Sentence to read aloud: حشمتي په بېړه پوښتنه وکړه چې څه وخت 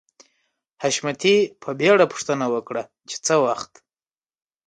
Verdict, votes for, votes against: accepted, 2, 0